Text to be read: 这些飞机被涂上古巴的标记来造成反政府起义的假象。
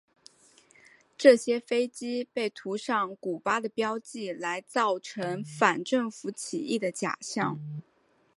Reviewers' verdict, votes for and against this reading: accepted, 5, 0